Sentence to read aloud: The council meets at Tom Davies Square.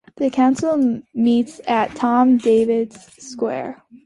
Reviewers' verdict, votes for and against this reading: accepted, 2, 0